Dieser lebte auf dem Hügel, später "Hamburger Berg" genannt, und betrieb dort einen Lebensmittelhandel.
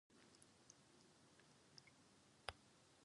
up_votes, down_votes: 0, 4